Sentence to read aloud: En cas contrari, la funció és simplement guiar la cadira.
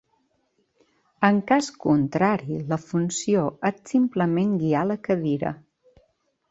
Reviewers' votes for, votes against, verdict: 1, 2, rejected